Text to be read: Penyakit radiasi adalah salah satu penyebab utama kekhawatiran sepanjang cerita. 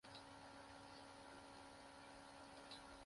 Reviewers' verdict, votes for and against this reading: rejected, 0, 2